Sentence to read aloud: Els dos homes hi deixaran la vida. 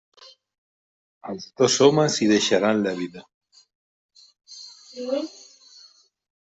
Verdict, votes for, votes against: rejected, 1, 2